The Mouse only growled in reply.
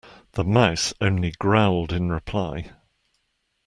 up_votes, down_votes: 2, 0